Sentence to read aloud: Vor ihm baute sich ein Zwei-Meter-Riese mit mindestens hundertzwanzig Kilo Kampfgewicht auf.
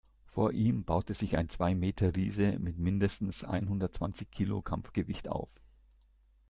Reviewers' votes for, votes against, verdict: 0, 2, rejected